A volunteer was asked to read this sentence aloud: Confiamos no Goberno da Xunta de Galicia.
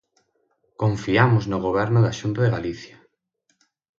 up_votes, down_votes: 6, 0